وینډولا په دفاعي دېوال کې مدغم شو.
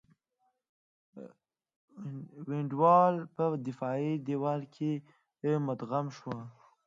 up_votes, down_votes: 1, 2